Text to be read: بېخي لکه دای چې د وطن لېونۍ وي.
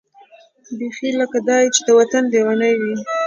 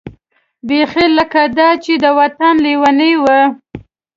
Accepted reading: first